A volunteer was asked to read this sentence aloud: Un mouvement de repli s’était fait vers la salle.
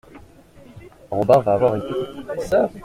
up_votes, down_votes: 0, 2